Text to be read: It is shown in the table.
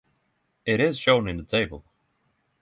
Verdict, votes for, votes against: accepted, 6, 0